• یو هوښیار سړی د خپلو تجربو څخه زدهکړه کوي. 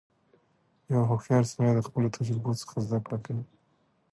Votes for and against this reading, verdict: 2, 0, accepted